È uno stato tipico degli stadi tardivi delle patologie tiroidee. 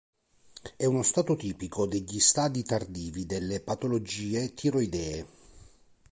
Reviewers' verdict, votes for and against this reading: accepted, 2, 0